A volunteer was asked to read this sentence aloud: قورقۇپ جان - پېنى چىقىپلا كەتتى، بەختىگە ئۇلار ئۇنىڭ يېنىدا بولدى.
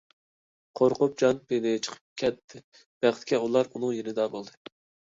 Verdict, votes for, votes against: rejected, 0, 2